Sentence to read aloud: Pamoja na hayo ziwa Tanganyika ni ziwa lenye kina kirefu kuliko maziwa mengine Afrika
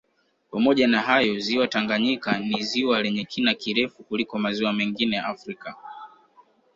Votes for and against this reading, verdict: 3, 1, accepted